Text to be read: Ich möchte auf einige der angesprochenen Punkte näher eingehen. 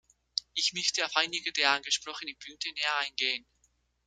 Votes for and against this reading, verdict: 0, 2, rejected